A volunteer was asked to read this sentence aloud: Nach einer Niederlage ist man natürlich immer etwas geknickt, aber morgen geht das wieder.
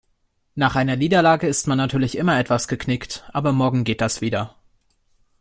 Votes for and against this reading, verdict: 2, 0, accepted